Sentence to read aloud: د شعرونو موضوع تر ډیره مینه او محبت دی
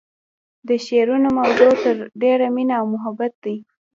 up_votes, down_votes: 2, 1